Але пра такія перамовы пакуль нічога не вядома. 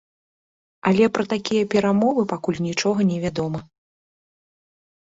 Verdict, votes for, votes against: accepted, 3, 0